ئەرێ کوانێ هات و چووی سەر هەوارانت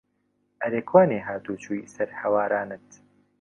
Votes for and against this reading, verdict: 2, 0, accepted